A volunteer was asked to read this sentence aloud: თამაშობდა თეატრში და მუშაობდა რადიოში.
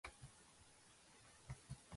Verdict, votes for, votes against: rejected, 0, 2